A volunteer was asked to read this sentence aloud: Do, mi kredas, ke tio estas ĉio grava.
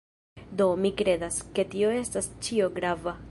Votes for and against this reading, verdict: 4, 1, accepted